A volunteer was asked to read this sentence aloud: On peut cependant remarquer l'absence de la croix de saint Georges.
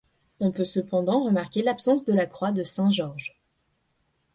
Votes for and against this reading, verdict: 2, 0, accepted